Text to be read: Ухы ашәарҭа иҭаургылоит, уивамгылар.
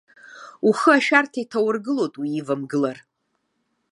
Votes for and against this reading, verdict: 2, 0, accepted